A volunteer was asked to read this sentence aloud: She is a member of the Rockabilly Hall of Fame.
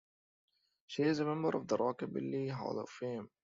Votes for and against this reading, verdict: 2, 0, accepted